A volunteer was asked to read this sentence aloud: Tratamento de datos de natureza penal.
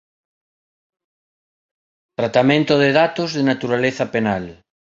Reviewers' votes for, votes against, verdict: 0, 2, rejected